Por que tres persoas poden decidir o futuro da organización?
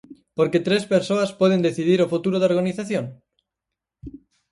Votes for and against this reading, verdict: 4, 0, accepted